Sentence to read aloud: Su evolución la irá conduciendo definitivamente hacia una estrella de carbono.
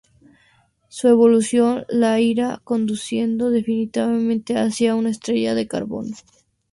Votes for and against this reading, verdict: 0, 2, rejected